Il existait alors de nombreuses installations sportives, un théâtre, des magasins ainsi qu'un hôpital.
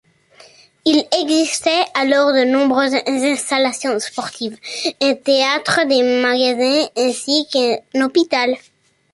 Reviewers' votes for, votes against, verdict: 2, 0, accepted